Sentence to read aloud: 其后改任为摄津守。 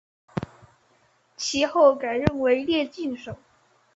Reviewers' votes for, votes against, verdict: 2, 0, accepted